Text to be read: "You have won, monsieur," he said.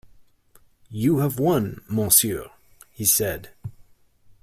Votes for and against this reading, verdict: 2, 0, accepted